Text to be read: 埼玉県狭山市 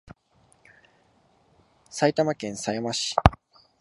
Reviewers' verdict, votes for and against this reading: accepted, 2, 0